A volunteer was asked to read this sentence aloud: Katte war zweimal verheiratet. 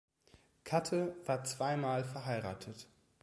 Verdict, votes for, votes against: accepted, 2, 0